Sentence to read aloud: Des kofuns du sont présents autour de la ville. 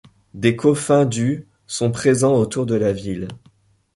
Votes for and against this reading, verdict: 2, 0, accepted